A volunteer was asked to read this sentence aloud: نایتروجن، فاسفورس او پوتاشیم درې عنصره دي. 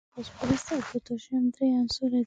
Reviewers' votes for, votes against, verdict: 0, 2, rejected